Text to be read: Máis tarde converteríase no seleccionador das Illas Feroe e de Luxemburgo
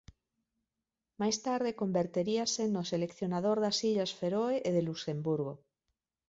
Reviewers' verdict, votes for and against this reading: accepted, 2, 1